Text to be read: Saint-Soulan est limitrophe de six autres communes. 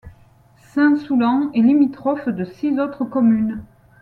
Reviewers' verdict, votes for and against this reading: accepted, 2, 0